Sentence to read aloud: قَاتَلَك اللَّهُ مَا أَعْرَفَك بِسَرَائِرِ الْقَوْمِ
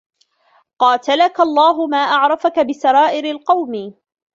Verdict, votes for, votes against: rejected, 0, 2